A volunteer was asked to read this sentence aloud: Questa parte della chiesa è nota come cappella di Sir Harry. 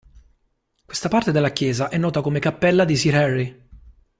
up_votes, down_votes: 2, 0